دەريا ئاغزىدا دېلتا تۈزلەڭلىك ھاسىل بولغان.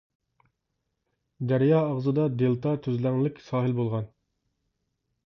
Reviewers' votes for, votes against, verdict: 0, 2, rejected